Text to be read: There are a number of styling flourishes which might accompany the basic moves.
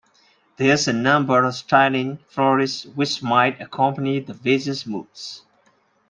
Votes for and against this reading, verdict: 0, 2, rejected